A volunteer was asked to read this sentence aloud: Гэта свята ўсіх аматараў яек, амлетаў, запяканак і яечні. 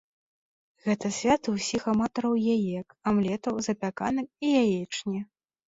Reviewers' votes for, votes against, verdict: 0, 2, rejected